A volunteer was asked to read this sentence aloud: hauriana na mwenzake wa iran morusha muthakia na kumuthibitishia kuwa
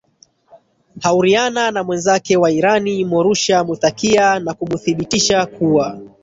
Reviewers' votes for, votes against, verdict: 1, 2, rejected